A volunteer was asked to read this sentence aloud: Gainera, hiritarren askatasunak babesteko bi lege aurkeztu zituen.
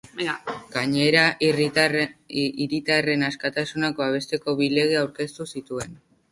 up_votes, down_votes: 0, 2